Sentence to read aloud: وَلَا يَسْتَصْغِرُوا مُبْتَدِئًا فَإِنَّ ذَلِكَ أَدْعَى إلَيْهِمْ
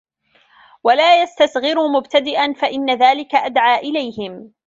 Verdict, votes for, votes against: rejected, 1, 2